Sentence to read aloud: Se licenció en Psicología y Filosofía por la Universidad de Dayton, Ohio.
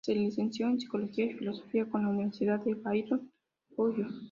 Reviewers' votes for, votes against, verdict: 2, 0, accepted